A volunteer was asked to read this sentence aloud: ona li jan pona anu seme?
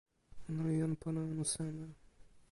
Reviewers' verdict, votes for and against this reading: rejected, 1, 2